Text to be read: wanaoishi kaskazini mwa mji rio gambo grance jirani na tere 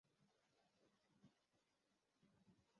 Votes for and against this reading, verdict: 0, 2, rejected